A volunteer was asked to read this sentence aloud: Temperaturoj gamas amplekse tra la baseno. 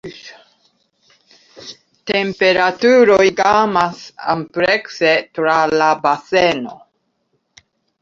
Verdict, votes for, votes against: accepted, 3, 1